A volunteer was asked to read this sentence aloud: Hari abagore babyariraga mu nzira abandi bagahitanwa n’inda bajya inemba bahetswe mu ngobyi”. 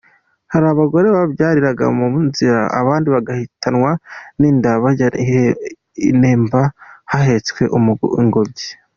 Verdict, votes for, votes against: rejected, 0, 2